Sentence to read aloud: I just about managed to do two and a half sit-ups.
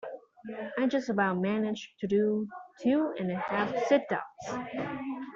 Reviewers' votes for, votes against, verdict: 2, 1, accepted